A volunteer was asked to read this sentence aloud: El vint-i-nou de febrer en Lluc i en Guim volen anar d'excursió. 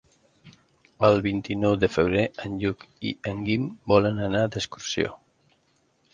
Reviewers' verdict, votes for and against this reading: accepted, 5, 0